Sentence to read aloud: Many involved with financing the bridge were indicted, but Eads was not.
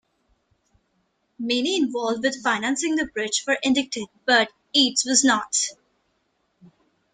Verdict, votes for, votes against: rejected, 1, 2